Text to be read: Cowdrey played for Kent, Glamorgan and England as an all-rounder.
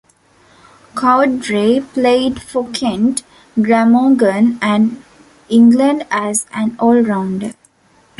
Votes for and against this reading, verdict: 2, 0, accepted